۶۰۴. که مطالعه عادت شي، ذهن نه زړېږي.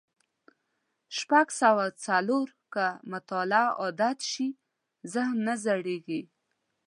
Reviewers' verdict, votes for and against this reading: rejected, 0, 2